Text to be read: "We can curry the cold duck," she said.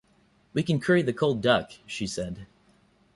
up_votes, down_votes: 2, 0